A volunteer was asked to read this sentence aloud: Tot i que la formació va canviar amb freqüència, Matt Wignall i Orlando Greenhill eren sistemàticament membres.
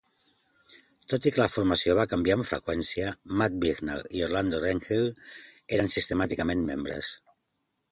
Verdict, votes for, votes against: rejected, 1, 2